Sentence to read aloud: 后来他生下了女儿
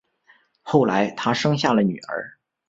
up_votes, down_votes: 2, 0